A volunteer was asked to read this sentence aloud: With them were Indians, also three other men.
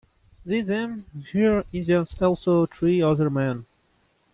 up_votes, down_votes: 1, 2